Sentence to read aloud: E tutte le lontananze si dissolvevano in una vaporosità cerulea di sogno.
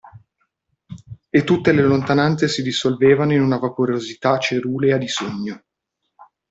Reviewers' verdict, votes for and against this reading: accepted, 2, 0